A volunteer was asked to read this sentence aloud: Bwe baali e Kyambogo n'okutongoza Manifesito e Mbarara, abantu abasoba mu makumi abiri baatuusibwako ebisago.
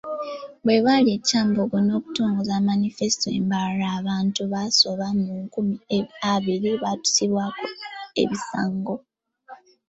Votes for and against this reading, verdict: 1, 2, rejected